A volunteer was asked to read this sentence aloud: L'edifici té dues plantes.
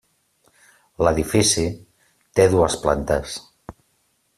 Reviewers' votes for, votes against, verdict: 3, 0, accepted